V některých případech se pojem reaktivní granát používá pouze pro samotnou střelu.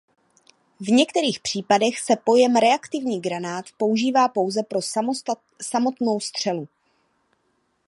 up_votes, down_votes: 0, 2